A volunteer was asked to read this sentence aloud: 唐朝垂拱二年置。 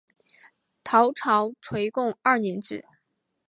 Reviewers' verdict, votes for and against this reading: accepted, 3, 0